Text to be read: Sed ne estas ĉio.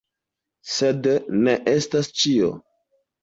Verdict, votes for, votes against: accepted, 2, 0